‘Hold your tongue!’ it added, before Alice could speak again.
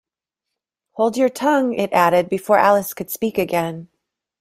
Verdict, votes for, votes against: accepted, 2, 1